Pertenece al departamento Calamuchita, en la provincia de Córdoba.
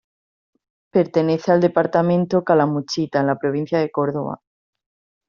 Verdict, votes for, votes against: accepted, 2, 0